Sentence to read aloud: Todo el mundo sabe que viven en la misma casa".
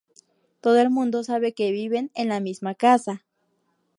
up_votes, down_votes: 4, 0